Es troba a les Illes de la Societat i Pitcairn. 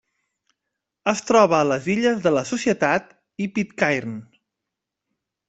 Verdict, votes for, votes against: accepted, 2, 0